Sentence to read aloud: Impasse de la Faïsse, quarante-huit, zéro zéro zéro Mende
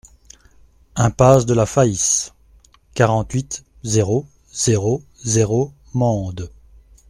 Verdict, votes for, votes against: accepted, 3, 0